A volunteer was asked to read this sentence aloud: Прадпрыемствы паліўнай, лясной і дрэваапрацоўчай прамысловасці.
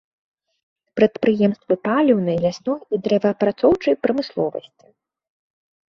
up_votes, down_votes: 3, 0